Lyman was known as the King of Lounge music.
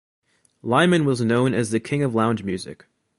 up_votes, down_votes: 2, 0